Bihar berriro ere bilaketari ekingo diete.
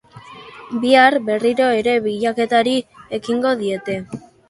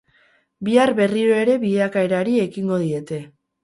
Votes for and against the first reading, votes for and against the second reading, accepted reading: 2, 0, 0, 4, first